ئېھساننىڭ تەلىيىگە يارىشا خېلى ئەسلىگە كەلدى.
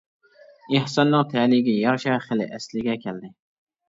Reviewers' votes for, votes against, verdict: 2, 1, accepted